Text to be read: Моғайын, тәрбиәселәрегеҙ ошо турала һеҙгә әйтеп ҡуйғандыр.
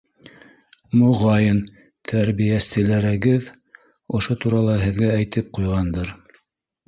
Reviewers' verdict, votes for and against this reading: accepted, 2, 1